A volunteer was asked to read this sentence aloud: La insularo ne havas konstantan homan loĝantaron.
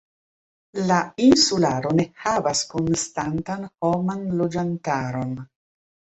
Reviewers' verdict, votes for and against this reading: accepted, 2, 1